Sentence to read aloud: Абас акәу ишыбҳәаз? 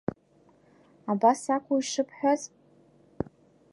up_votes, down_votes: 2, 0